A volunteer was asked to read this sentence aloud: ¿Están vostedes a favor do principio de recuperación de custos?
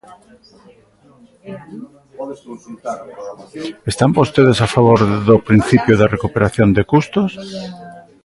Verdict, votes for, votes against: rejected, 0, 2